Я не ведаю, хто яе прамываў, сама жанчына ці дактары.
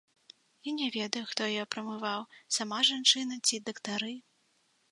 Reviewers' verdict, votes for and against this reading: accepted, 2, 0